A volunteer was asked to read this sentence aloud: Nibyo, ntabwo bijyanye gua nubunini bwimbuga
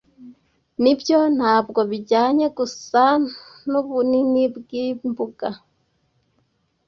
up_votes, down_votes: 0, 2